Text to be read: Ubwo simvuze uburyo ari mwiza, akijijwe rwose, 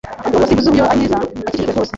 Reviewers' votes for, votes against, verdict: 1, 2, rejected